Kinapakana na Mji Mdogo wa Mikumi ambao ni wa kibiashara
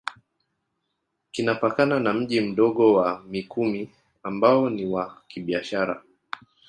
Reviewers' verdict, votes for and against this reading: accepted, 2, 0